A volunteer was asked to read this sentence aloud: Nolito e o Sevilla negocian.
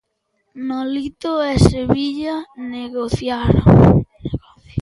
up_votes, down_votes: 0, 2